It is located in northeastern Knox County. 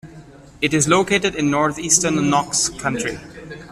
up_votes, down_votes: 1, 2